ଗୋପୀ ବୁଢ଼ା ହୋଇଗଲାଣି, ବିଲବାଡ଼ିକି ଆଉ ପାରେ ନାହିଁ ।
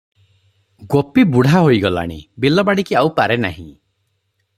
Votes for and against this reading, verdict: 3, 0, accepted